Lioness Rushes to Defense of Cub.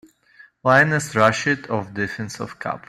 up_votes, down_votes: 0, 2